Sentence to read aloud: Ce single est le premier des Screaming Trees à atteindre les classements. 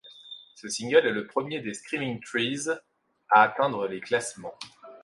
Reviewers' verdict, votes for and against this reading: rejected, 1, 2